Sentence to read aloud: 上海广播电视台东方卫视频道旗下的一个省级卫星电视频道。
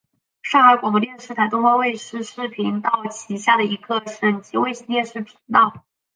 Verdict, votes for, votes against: rejected, 1, 2